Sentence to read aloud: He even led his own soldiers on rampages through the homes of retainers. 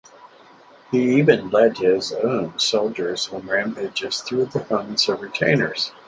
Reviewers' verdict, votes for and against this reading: accepted, 4, 2